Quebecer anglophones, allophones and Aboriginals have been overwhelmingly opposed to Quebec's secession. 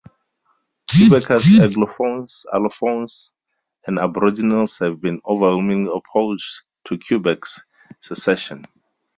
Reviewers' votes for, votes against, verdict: 4, 0, accepted